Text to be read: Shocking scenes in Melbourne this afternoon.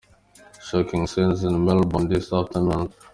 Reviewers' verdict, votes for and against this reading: accepted, 2, 1